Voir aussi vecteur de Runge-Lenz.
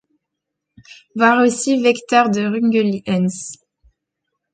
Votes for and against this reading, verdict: 0, 2, rejected